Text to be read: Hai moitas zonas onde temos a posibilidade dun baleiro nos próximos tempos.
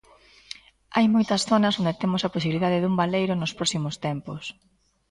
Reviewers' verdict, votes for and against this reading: accepted, 2, 0